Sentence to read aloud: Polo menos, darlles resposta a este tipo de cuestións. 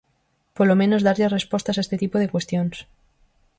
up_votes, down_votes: 2, 4